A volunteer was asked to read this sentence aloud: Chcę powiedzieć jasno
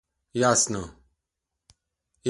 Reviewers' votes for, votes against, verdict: 0, 2, rejected